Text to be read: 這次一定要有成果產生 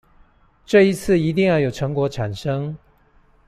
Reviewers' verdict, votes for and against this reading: rejected, 0, 2